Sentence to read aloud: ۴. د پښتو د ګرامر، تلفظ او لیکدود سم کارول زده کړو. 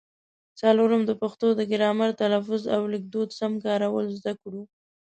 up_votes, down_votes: 0, 2